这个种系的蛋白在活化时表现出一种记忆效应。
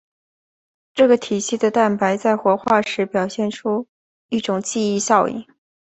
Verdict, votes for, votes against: accepted, 2, 1